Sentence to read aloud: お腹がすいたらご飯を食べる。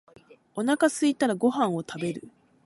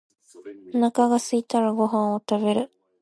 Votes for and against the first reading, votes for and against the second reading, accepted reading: 1, 2, 2, 0, second